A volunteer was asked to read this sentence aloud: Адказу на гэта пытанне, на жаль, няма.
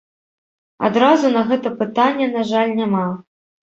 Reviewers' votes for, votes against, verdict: 0, 2, rejected